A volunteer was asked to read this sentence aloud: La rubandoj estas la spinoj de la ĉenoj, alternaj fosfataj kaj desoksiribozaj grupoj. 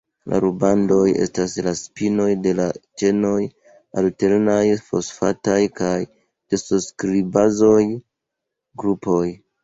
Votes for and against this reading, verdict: 1, 2, rejected